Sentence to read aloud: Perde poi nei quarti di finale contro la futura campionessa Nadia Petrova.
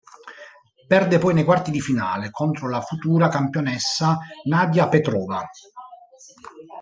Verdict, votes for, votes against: accepted, 2, 0